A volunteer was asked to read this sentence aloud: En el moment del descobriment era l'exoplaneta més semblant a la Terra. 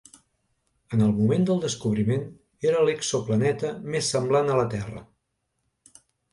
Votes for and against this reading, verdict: 2, 0, accepted